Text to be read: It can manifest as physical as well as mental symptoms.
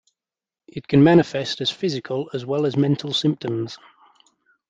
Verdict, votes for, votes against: accepted, 2, 0